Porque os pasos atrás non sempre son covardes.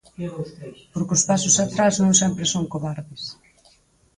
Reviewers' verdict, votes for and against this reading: rejected, 2, 4